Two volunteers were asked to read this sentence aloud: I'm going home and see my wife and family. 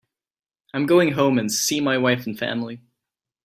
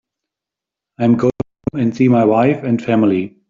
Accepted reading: first